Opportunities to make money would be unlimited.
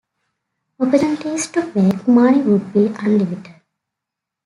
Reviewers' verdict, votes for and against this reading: accepted, 2, 1